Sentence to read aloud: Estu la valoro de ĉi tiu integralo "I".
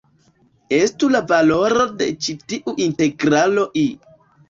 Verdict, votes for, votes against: accepted, 2, 0